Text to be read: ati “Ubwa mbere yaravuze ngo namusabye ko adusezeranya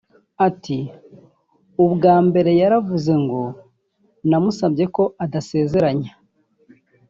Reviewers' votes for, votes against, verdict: 0, 2, rejected